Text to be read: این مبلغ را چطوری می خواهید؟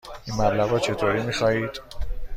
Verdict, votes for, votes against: accepted, 2, 0